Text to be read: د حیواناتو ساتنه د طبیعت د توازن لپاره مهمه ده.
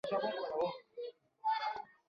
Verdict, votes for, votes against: rejected, 0, 2